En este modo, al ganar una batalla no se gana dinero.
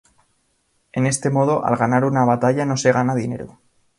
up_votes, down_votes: 2, 0